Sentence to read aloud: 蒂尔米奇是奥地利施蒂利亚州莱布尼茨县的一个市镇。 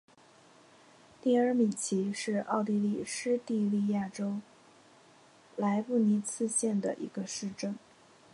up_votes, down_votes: 3, 1